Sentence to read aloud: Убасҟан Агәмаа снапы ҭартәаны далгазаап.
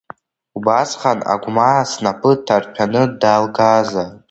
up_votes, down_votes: 2, 1